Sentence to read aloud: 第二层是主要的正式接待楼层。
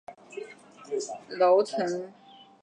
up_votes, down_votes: 0, 2